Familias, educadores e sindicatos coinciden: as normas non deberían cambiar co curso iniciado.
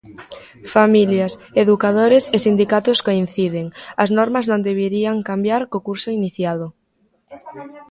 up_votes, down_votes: 0, 2